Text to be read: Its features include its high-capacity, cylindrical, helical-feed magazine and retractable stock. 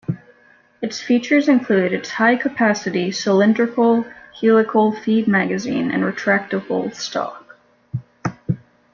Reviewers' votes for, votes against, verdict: 2, 0, accepted